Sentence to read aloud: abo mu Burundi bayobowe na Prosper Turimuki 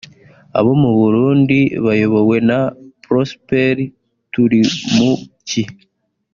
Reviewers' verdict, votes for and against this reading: accepted, 3, 0